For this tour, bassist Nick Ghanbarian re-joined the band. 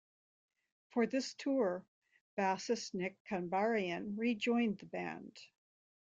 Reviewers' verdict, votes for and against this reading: rejected, 1, 2